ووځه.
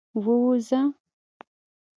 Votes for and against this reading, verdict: 2, 0, accepted